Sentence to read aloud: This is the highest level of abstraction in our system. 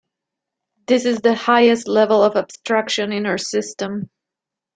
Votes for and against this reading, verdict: 2, 0, accepted